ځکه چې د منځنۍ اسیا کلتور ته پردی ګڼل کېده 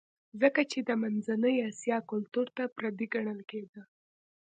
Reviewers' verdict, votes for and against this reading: accepted, 2, 1